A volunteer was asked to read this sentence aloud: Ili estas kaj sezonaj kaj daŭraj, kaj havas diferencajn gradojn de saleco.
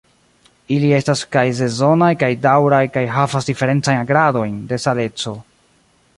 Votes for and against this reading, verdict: 2, 1, accepted